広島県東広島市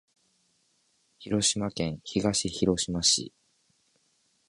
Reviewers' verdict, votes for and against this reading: accepted, 3, 0